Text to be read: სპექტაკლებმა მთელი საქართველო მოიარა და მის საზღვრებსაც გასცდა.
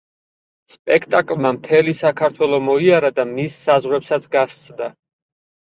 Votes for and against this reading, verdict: 2, 4, rejected